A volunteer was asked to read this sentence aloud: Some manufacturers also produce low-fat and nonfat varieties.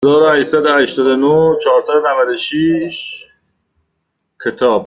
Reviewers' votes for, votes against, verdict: 0, 2, rejected